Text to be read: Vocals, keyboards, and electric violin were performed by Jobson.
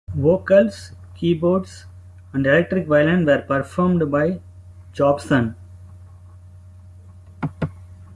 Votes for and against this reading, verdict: 2, 0, accepted